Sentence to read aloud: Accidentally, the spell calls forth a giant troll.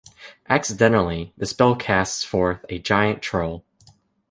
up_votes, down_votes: 1, 2